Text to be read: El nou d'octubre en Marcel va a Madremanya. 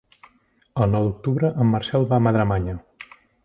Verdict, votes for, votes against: accepted, 3, 0